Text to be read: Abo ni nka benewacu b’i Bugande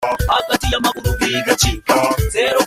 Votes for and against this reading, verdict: 0, 2, rejected